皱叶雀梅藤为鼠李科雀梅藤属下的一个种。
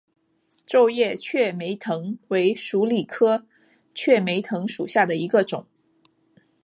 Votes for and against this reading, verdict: 3, 0, accepted